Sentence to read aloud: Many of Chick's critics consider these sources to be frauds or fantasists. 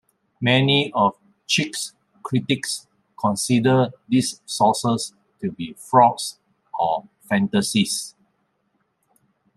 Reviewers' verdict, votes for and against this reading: accepted, 2, 1